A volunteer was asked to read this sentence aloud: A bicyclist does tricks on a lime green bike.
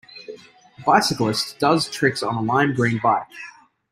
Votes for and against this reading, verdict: 3, 0, accepted